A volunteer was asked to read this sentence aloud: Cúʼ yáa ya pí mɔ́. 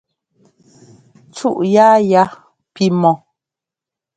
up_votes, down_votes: 2, 0